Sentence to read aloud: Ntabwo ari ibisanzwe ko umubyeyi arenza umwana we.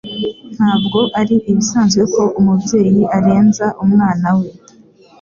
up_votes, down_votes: 2, 0